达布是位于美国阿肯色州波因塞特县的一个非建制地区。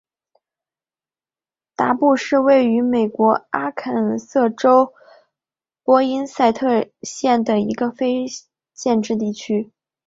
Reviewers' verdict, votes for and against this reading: accepted, 2, 1